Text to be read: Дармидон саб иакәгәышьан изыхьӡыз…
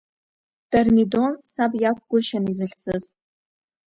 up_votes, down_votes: 2, 1